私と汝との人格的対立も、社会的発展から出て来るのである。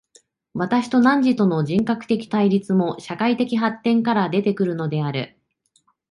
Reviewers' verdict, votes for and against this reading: accepted, 2, 0